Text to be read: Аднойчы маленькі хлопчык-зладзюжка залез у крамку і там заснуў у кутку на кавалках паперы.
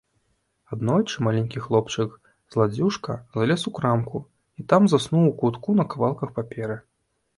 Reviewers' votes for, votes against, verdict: 2, 0, accepted